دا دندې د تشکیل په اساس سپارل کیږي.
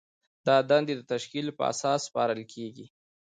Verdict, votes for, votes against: rejected, 1, 2